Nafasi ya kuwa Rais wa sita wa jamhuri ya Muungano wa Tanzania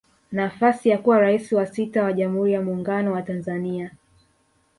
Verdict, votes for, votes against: accepted, 2, 0